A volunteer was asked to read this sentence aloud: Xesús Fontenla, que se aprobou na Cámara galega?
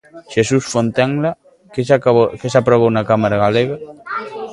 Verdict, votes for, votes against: rejected, 0, 2